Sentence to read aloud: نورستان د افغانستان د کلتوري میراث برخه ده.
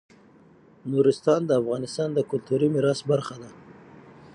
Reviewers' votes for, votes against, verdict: 6, 0, accepted